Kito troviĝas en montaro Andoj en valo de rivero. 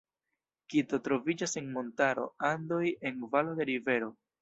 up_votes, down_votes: 1, 2